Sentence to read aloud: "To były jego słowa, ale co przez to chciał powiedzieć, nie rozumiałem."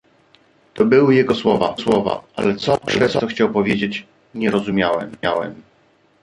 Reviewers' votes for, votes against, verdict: 0, 2, rejected